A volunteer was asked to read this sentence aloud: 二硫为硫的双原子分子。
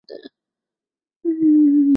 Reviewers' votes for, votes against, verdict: 0, 2, rejected